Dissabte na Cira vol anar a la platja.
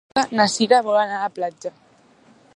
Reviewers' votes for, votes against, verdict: 0, 2, rejected